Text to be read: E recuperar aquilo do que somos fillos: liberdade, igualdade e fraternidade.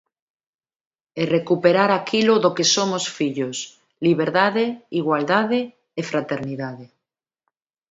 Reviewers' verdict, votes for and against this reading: accepted, 2, 1